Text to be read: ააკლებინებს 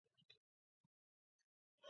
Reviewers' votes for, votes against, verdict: 0, 2, rejected